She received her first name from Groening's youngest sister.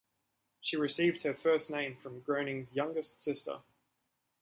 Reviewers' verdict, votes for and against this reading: accepted, 3, 0